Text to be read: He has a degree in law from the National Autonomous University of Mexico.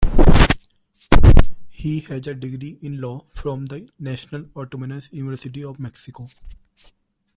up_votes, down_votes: 2, 1